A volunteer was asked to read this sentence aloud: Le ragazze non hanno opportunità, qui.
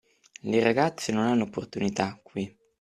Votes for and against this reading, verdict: 3, 0, accepted